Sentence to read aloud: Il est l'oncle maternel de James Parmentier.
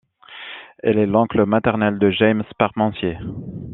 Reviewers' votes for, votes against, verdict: 2, 0, accepted